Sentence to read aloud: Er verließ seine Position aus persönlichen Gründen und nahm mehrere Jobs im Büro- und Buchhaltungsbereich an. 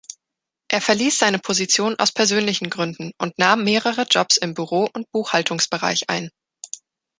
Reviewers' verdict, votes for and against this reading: rejected, 1, 2